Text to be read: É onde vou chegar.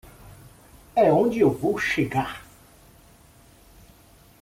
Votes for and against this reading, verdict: 1, 2, rejected